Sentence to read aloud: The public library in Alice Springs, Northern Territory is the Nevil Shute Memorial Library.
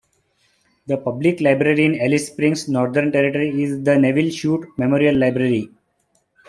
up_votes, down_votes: 3, 0